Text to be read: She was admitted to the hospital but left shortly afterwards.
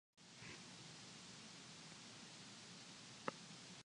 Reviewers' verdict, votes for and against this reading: rejected, 0, 2